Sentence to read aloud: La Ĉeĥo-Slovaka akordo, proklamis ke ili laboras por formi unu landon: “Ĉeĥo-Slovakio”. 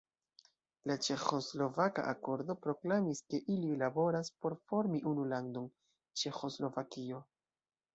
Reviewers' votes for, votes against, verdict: 0, 2, rejected